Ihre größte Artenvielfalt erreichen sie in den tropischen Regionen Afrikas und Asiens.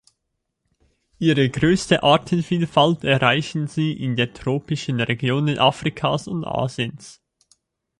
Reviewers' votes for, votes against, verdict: 1, 2, rejected